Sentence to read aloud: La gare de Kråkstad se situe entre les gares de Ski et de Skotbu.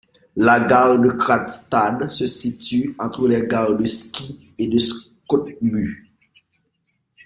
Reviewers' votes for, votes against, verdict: 1, 2, rejected